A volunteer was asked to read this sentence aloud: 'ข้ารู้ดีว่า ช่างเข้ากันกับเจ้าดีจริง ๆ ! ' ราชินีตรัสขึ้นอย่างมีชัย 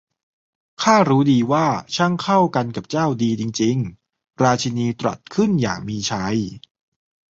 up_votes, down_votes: 2, 0